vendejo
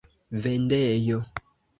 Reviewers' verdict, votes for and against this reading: accepted, 2, 0